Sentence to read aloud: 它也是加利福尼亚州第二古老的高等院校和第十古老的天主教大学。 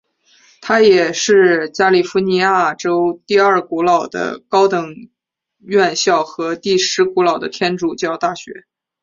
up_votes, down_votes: 4, 1